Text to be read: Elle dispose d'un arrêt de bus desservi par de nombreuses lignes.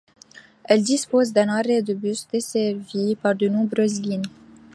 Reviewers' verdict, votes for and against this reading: accepted, 2, 0